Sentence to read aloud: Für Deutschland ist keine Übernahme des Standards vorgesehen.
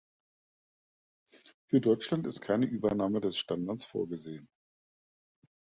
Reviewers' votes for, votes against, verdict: 2, 0, accepted